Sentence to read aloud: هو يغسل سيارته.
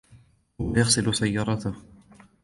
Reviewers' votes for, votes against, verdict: 1, 2, rejected